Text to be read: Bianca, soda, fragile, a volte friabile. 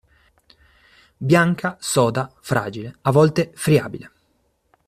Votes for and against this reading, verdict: 2, 0, accepted